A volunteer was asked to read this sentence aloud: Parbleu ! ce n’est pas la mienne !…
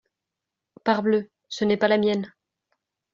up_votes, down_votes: 2, 0